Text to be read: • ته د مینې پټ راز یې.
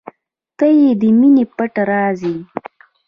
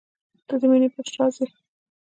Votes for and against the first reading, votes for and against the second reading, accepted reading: 2, 1, 0, 2, first